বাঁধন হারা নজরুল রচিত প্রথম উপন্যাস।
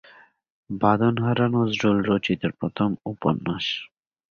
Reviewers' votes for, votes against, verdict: 2, 0, accepted